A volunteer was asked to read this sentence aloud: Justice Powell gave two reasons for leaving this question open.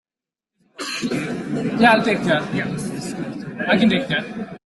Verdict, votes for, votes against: rejected, 0, 2